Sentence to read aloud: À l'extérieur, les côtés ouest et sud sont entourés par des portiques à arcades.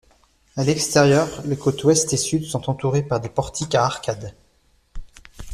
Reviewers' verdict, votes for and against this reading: accepted, 2, 1